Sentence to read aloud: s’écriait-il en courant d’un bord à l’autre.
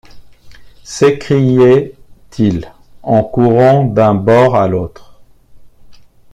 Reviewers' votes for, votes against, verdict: 1, 2, rejected